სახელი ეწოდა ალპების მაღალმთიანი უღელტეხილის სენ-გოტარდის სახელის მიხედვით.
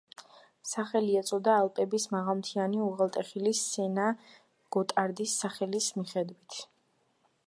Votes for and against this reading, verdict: 2, 1, accepted